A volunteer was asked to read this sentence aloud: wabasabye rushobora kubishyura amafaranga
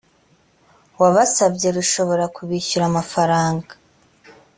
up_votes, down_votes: 2, 0